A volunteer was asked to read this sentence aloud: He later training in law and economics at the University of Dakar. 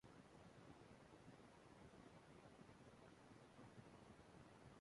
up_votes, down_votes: 0, 2